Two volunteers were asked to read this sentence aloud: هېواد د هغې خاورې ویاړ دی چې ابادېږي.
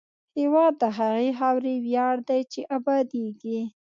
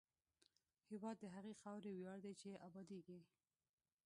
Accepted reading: first